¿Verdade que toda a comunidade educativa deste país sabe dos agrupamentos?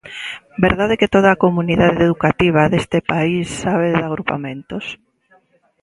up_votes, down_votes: 0, 2